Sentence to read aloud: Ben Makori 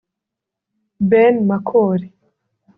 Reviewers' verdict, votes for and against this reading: accepted, 3, 0